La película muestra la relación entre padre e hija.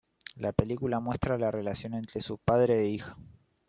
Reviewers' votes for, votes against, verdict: 2, 3, rejected